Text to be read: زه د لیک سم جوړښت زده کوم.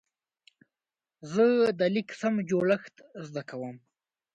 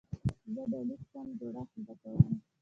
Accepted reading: first